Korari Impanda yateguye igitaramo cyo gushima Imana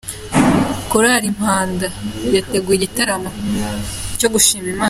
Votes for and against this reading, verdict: 0, 2, rejected